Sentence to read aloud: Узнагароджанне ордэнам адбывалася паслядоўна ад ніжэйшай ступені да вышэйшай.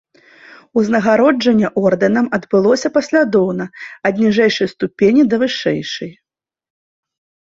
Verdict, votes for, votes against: rejected, 1, 3